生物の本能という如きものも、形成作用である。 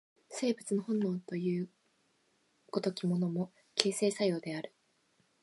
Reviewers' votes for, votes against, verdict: 0, 2, rejected